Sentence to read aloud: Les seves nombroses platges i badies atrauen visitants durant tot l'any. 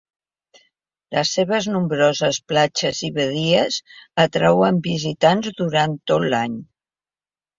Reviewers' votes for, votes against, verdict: 2, 0, accepted